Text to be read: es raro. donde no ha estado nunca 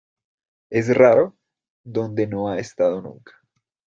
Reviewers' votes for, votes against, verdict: 2, 0, accepted